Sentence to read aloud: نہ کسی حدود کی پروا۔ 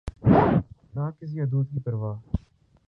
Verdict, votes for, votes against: rejected, 1, 4